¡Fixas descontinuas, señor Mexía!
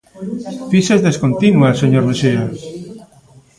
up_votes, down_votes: 1, 2